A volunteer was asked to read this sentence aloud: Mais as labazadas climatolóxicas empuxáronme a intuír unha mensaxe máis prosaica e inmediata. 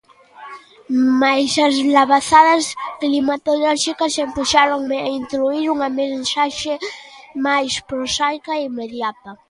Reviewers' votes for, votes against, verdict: 2, 0, accepted